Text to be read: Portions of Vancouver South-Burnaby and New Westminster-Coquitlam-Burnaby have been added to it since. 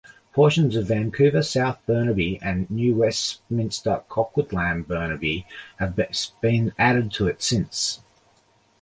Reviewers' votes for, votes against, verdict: 0, 2, rejected